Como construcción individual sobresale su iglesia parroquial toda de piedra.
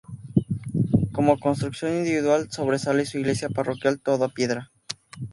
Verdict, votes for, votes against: rejected, 0, 2